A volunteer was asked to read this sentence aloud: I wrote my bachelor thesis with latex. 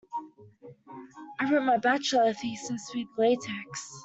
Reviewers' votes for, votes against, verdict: 2, 0, accepted